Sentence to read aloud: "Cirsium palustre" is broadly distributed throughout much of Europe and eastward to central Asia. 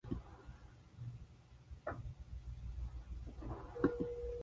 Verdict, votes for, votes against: rejected, 0, 2